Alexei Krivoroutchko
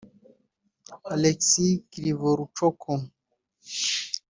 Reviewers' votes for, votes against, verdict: 0, 2, rejected